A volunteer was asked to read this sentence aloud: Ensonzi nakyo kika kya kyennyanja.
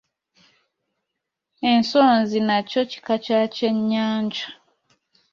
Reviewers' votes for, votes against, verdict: 2, 0, accepted